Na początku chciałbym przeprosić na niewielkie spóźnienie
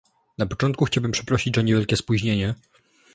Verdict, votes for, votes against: rejected, 1, 3